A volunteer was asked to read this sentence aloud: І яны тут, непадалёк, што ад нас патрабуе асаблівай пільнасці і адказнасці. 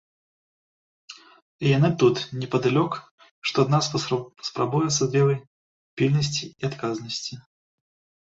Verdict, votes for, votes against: rejected, 1, 2